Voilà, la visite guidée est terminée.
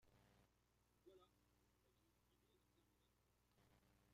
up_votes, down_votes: 0, 2